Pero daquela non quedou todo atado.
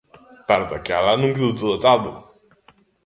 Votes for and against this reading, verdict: 1, 2, rejected